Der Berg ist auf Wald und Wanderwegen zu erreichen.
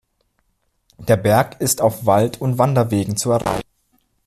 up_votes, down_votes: 1, 2